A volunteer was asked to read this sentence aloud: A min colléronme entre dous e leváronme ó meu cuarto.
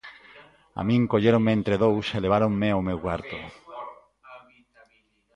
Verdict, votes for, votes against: accepted, 2, 0